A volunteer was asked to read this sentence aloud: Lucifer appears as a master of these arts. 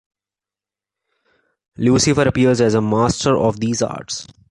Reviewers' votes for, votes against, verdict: 2, 0, accepted